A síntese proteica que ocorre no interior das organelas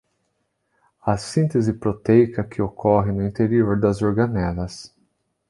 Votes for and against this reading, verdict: 2, 0, accepted